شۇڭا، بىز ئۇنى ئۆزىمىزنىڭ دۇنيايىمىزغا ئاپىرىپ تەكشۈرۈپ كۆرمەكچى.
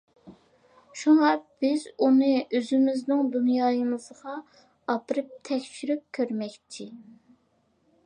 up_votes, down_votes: 2, 0